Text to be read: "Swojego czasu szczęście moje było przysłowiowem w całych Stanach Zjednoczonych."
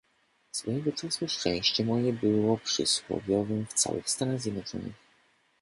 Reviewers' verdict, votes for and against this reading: accepted, 2, 1